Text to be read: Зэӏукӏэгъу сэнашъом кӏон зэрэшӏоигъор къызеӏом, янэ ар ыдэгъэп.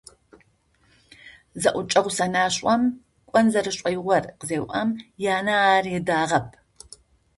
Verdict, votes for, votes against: rejected, 0, 2